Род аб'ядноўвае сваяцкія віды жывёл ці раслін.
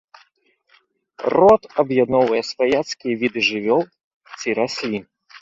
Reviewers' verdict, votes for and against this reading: accepted, 2, 0